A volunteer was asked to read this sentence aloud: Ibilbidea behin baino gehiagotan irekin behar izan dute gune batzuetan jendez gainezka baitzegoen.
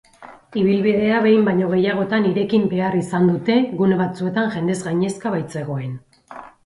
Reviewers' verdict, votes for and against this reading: accepted, 4, 0